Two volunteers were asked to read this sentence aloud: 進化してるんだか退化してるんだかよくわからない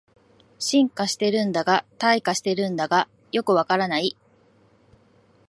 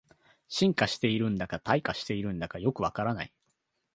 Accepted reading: second